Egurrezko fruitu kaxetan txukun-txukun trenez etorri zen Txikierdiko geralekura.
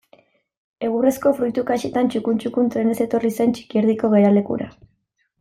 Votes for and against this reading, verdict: 2, 0, accepted